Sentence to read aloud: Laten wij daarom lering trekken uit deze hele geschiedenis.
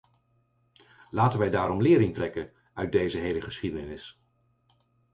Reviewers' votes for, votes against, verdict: 4, 0, accepted